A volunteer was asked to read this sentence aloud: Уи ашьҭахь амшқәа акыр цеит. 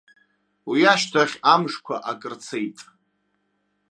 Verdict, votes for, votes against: accepted, 2, 0